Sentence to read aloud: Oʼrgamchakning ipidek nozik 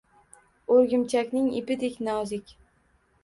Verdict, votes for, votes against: rejected, 1, 2